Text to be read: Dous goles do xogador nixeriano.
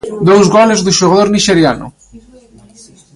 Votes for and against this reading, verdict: 2, 0, accepted